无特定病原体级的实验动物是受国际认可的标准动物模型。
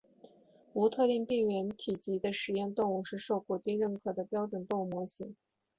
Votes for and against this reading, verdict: 3, 1, accepted